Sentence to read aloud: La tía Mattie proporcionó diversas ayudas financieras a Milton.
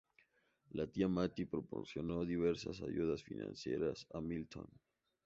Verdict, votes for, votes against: accepted, 2, 0